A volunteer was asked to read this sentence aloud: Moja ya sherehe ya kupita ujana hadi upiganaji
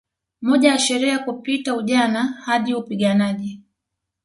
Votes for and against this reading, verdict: 2, 0, accepted